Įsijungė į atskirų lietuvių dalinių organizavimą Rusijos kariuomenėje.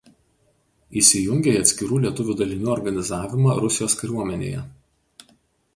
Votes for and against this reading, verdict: 2, 0, accepted